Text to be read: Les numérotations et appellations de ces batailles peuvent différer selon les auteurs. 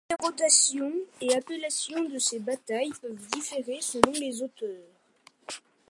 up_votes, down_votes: 0, 2